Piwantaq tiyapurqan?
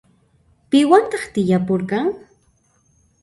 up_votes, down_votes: 0, 2